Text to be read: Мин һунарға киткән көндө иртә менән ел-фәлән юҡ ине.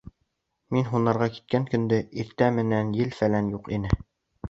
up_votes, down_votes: 2, 0